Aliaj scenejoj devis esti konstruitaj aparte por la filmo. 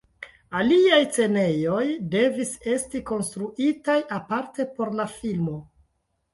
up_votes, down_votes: 1, 2